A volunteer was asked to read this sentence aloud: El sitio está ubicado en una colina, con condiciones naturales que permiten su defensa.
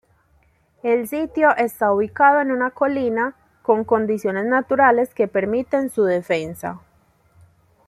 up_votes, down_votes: 2, 0